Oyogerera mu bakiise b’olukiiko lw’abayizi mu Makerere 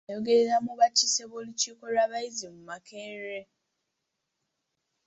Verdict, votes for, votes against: accepted, 2, 1